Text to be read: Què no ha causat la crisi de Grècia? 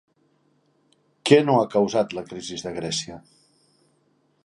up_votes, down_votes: 1, 2